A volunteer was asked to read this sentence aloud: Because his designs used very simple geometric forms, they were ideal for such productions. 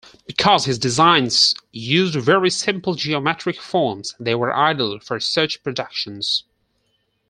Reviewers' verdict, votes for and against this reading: rejected, 2, 4